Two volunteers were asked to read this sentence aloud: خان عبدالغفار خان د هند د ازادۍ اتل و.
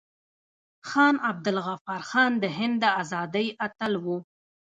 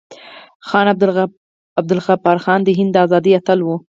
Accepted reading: second